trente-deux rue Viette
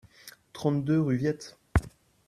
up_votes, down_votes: 2, 0